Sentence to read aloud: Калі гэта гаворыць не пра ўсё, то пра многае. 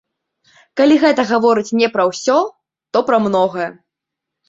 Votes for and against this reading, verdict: 2, 0, accepted